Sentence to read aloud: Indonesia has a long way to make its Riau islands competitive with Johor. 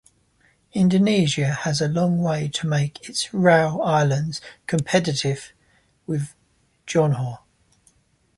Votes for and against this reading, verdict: 1, 2, rejected